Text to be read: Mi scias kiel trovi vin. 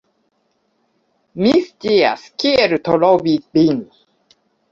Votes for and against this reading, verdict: 0, 2, rejected